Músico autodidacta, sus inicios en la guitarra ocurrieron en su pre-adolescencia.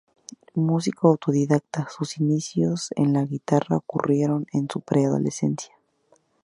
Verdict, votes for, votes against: accepted, 4, 0